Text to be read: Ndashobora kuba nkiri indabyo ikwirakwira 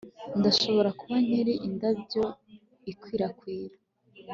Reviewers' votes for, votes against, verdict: 2, 0, accepted